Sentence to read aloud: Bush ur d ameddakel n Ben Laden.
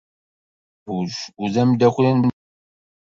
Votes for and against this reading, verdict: 1, 2, rejected